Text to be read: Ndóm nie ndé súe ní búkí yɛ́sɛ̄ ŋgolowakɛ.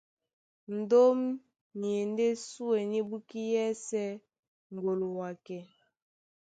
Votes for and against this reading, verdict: 1, 2, rejected